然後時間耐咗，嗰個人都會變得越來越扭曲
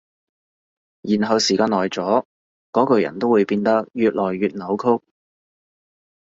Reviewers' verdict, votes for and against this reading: accepted, 2, 0